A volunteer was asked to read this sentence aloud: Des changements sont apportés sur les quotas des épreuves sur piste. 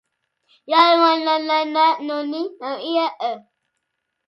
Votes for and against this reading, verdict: 0, 2, rejected